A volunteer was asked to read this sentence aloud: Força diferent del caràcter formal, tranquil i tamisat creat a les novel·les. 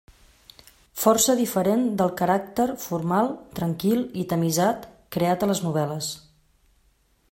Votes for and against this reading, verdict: 2, 0, accepted